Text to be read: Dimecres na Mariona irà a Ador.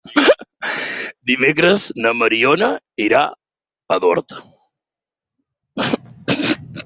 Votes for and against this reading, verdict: 0, 4, rejected